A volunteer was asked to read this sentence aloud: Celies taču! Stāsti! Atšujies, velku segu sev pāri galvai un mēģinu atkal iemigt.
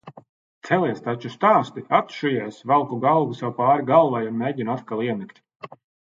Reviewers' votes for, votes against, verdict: 0, 2, rejected